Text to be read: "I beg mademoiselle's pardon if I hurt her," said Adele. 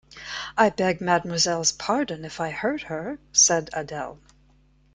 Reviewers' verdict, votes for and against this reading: accepted, 2, 0